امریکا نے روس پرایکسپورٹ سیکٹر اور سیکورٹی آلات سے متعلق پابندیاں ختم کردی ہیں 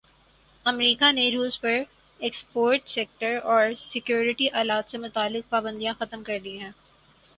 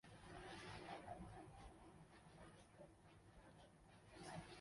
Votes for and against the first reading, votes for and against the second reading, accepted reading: 6, 2, 0, 2, first